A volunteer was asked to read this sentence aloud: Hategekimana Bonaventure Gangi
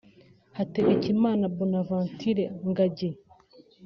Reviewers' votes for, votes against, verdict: 2, 3, rejected